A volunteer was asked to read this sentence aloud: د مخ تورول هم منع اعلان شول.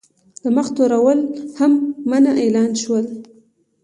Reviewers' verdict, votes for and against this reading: accepted, 2, 0